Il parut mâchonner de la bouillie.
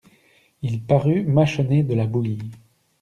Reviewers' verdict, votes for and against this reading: accepted, 2, 0